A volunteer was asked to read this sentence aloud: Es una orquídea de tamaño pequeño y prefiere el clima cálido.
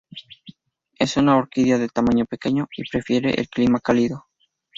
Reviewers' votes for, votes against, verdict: 0, 2, rejected